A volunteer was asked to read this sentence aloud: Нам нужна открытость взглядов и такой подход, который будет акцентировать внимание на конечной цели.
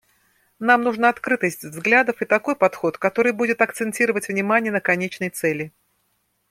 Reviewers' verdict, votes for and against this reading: accepted, 2, 0